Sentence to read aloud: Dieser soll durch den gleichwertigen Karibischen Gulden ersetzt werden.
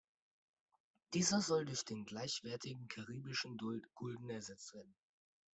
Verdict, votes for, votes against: rejected, 0, 2